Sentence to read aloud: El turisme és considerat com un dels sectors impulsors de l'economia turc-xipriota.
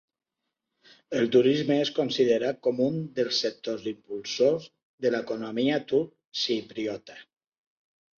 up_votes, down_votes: 2, 1